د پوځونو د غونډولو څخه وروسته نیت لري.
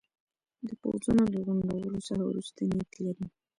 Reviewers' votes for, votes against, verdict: 2, 1, accepted